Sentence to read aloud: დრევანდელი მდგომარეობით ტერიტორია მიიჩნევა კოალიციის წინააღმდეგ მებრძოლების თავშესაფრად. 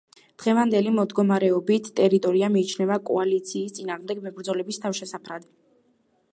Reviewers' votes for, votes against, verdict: 2, 1, accepted